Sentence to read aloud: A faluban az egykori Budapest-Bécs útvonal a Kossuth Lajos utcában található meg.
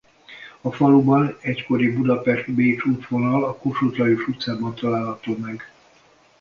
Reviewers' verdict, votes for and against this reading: rejected, 0, 2